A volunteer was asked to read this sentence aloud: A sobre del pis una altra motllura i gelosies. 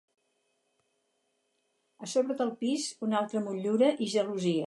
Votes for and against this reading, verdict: 0, 4, rejected